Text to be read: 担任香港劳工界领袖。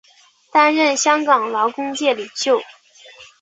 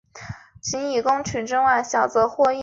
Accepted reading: first